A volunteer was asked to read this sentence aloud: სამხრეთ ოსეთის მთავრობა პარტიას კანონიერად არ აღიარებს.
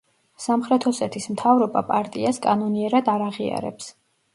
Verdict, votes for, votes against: accepted, 2, 0